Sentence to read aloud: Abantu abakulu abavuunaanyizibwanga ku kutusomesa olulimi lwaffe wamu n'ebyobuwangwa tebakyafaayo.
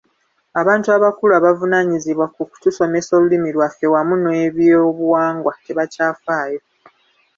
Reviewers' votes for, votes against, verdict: 1, 2, rejected